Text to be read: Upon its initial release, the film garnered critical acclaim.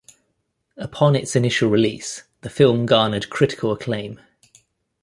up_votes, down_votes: 2, 0